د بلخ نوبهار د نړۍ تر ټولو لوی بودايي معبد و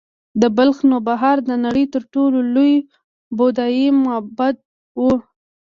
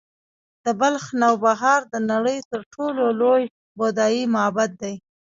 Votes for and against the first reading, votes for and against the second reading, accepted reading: 2, 0, 0, 2, first